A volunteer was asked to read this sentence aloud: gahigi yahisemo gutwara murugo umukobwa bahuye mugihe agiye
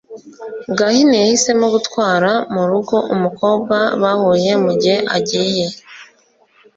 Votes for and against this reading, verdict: 1, 2, rejected